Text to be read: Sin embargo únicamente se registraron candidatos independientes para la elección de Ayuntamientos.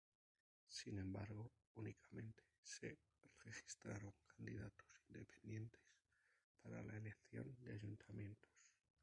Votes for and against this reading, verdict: 0, 2, rejected